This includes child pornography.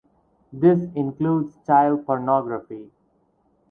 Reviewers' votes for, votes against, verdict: 4, 0, accepted